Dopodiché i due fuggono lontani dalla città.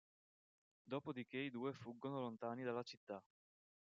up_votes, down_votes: 2, 0